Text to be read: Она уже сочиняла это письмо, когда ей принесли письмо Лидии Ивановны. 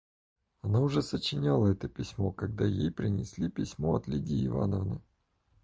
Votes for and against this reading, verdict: 0, 4, rejected